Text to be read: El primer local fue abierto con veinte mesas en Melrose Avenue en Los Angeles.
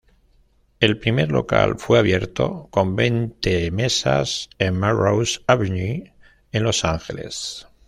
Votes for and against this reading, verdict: 0, 2, rejected